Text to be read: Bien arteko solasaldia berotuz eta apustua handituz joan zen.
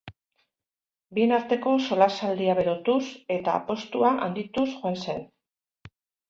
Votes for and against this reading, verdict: 1, 2, rejected